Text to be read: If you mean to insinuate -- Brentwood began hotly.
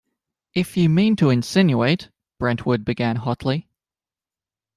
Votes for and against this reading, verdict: 2, 0, accepted